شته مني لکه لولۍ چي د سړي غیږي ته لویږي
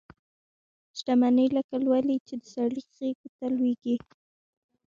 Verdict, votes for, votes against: accepted, 2, 0